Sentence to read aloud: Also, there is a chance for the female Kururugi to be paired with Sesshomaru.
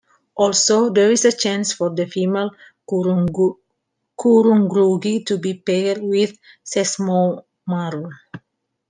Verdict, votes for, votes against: rejected, 0, 2